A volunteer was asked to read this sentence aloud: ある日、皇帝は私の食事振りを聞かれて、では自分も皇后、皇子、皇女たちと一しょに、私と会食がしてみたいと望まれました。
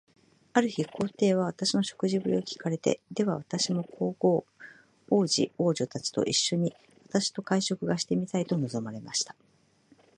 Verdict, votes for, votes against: accepted, 2, 1